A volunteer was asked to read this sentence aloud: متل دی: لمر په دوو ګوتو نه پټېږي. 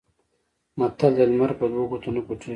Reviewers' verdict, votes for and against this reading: accepted, 2, 0